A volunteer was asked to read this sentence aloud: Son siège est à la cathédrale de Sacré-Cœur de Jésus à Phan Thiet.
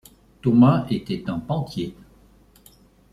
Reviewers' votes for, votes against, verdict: 1, 2, rejected